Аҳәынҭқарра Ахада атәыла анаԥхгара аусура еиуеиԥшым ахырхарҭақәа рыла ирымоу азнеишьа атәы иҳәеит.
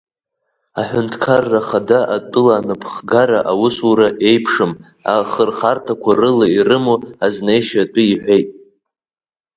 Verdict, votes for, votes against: accepted, 3, 1